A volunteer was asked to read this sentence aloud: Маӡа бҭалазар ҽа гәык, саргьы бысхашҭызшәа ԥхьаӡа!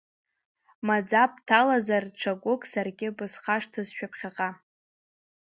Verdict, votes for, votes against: rejected, 0, 2